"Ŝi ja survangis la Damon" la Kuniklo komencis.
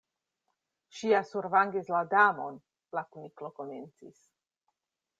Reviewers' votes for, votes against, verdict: 2, 0, accepted